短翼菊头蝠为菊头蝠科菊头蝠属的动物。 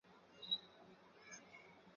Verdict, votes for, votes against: rejected, 0, 4